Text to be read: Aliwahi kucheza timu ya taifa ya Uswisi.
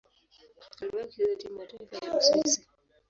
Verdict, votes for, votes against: rejected, 4, 5